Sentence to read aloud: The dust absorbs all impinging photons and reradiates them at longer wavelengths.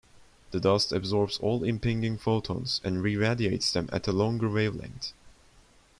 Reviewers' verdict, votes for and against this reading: rejected, 1, 2